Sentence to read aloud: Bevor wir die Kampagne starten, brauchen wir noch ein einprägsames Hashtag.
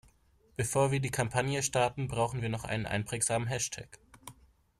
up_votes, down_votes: 1, 2